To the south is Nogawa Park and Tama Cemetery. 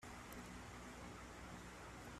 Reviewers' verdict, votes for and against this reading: rejected, 0, 2